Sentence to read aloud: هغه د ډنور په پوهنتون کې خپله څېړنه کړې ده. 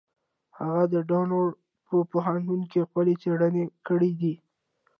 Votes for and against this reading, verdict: 1, 2, rejected